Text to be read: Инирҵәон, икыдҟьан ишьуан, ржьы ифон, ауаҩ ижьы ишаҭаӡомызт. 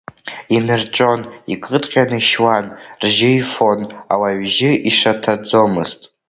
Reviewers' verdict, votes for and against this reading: accepted, 2, 0